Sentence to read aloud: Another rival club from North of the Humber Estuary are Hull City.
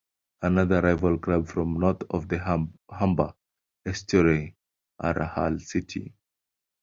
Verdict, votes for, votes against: rejected, 0, 2